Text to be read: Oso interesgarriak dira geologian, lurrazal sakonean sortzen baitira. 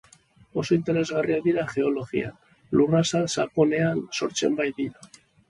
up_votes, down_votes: 3, 0